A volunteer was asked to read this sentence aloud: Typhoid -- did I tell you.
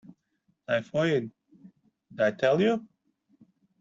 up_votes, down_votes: 0, 2